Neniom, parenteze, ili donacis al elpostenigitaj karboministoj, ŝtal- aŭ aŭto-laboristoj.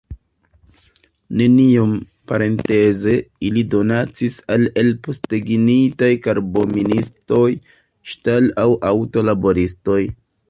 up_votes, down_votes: 0, 2